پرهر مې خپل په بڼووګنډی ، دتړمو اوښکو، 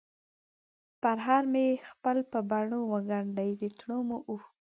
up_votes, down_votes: 2, 0